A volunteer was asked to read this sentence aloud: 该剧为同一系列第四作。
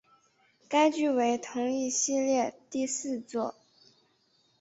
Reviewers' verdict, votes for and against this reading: accepted, 6, 1